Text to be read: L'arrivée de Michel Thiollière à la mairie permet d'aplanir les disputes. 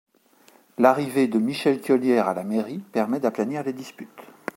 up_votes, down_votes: 2, 0